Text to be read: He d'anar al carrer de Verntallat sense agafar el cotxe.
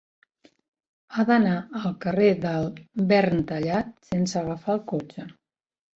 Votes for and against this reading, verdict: 3, 5, rejected